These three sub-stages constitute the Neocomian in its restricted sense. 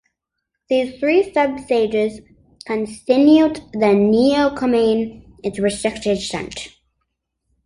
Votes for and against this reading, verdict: 0, 2, rejected